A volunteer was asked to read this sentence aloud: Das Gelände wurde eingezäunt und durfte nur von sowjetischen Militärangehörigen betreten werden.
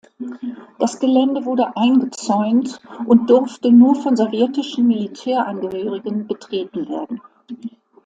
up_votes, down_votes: 2, 0